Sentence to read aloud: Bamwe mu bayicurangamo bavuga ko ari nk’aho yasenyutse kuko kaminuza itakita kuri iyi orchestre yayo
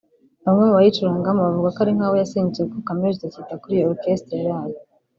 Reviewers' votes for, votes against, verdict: 0, 2, rejected